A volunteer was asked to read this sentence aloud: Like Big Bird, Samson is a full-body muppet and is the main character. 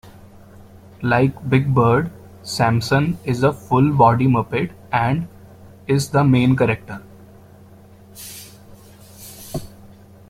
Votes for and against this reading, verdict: 1, 2, rejected